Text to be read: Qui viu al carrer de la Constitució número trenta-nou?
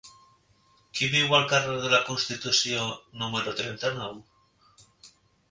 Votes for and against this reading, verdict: 3, 0, accepted